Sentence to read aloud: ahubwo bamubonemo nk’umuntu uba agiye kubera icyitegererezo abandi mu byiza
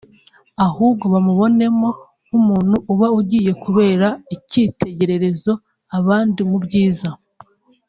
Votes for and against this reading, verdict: 1, 2, rejected